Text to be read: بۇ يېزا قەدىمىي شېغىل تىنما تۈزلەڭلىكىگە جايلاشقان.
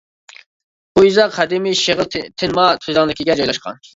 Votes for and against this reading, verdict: 0, 2, rejected